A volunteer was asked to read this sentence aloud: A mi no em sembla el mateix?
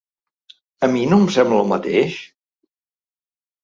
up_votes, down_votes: 4, 0